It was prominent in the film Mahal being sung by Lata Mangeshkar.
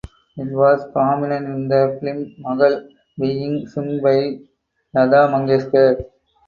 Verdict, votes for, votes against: rejected, 0, 2